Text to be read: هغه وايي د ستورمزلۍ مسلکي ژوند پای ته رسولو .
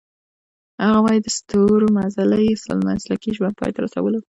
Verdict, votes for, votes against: rejected, 0, 2